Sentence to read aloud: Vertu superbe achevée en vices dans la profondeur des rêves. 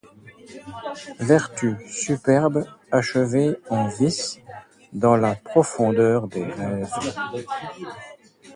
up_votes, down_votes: 1, 2